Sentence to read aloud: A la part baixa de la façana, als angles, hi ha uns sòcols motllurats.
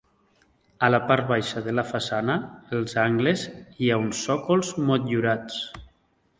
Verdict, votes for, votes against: accepted, 2, 0